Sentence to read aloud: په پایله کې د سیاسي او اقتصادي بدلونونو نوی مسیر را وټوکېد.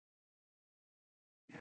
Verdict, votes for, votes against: accepted, 2, 0